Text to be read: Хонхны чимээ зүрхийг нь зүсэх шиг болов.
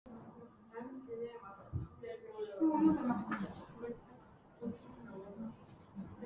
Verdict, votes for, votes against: rejected, 0, 2